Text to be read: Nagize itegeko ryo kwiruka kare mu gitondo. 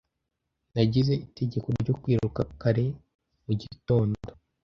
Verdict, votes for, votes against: rejected, 1, 2